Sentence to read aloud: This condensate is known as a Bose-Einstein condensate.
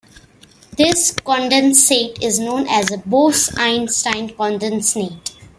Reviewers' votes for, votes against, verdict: 2, 0, accepted